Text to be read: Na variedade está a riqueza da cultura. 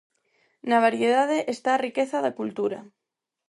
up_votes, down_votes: 4, 0